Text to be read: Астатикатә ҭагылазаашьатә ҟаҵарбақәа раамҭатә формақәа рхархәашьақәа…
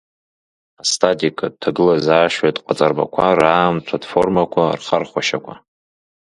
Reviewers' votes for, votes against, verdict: 2, 0, accepted